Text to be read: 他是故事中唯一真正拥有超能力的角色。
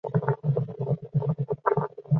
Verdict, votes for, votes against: rejected, 0, 3